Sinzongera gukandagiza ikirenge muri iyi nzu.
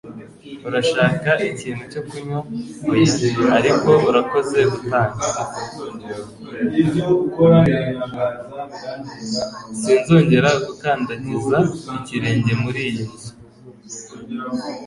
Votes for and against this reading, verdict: 1, 2, rejected